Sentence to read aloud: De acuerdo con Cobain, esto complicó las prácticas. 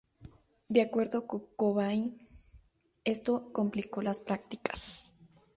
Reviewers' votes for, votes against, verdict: 2, 2, rejected